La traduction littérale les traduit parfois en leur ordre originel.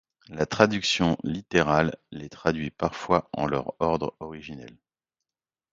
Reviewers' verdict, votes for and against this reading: accepted, 2, 0